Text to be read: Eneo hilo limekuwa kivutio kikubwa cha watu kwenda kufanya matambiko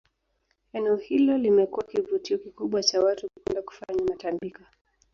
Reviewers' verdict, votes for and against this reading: rejected, 1, 3